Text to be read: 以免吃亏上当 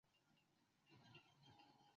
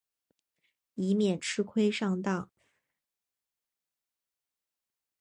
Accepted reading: second